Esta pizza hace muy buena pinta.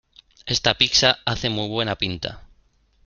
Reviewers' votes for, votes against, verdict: 1, 2, rejected